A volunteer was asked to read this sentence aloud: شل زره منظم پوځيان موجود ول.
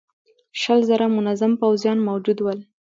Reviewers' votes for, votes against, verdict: 2, 0, accepted